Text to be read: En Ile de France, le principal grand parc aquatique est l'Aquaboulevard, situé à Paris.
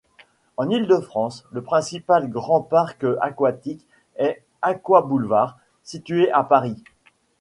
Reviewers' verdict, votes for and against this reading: rejected, 0, 2